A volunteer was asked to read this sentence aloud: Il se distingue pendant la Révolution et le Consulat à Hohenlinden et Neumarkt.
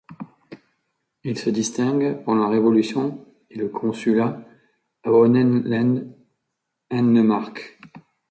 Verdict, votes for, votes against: rejected, 0, 2